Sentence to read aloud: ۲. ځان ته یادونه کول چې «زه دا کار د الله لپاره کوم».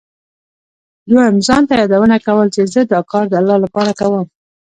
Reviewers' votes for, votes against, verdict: 0, 2, rejected